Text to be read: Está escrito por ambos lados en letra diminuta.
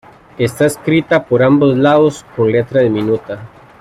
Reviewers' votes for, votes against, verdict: 1, 2, rejected